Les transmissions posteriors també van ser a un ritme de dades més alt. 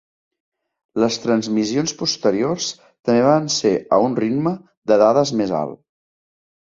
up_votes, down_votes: 2, 0